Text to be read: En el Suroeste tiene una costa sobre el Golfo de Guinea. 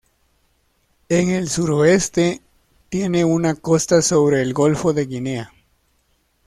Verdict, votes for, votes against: accepted, 2, 0